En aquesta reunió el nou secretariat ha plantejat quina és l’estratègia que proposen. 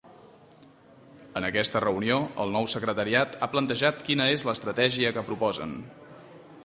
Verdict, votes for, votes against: accepted, 3, 0